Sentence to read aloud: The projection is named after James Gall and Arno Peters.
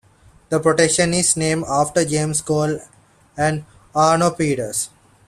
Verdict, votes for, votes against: accepted, 2, 0